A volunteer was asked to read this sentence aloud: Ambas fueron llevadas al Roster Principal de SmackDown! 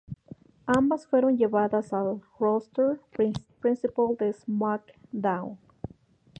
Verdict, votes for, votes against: rejected, 0, 2